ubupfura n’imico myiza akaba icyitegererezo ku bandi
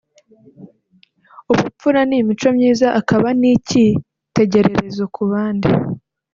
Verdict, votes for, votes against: accepted, 3, 0